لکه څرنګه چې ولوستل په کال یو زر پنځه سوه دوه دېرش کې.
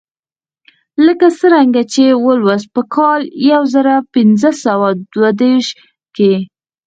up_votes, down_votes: 0, 4